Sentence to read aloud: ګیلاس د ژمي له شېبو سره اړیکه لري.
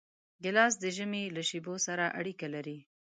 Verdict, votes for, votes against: accepted, 2, 0